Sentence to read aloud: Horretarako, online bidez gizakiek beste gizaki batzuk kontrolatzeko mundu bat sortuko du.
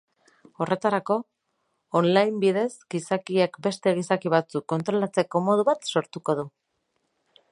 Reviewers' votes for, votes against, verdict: 2, 2, rejected